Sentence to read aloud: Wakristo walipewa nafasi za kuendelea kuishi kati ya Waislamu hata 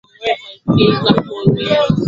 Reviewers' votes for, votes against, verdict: 1, 11, rejected